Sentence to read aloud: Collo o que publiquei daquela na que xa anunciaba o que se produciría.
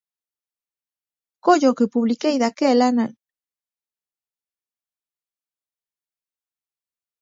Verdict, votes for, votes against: rejected, 0, 17